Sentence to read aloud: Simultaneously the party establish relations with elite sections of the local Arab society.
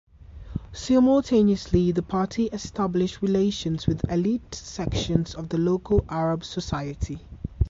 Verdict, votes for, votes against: accepted, 2, 0